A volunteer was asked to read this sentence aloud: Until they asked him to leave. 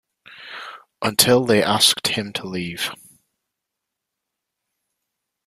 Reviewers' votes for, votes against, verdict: 2, 0, accepted